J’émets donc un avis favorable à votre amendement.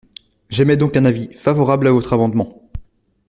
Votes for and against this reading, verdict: 2, 0, accepted